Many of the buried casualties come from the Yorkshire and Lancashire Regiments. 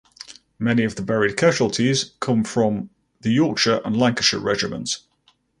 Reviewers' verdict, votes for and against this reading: accepted, 4, 0